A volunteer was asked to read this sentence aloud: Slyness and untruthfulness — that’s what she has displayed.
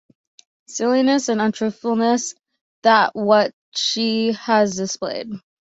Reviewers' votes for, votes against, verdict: 0, 2, rejected